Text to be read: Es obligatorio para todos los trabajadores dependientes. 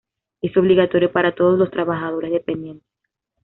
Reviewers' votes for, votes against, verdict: 2, 0, accepted